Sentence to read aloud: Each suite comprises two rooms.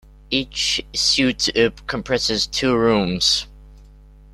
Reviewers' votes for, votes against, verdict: 1, 2, rejected